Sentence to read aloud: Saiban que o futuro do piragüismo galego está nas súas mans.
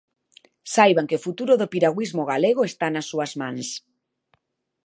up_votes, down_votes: 2, 0